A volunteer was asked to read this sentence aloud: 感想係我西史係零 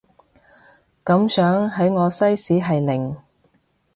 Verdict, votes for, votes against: rejected, 1, 2